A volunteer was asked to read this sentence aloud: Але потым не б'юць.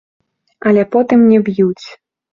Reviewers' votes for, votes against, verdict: 2, 0, accepted